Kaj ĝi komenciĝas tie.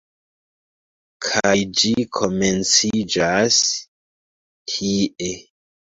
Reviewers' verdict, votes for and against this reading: accepted, 2, 1